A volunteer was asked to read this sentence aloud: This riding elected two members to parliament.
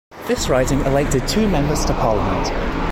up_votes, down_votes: 1, 2